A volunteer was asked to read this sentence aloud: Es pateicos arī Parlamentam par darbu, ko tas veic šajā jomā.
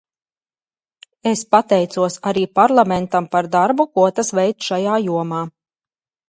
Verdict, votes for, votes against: accepted, 4, 0